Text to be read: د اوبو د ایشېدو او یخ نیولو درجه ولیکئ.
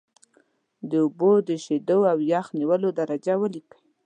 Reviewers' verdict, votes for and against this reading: rejected, 1, 2